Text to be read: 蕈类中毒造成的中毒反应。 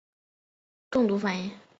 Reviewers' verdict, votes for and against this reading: accepted, 2, 0